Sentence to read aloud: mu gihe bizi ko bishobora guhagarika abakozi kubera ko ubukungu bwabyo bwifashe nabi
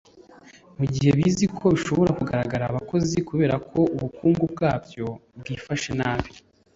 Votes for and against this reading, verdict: 0, 2, rejected